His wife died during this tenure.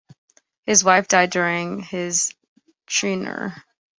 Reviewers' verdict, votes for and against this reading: rejected, 0, 2